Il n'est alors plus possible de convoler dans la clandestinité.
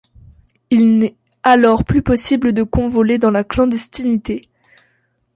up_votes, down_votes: 2, 0